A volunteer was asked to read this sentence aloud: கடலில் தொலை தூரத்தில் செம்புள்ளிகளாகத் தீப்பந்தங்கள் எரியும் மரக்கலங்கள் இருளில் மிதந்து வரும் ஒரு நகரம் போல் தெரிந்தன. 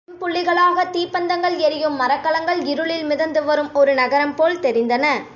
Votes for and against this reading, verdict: 0, 2, rejected